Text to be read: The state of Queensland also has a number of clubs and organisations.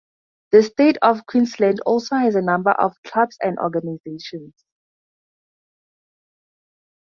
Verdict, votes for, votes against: accepted, 4, 0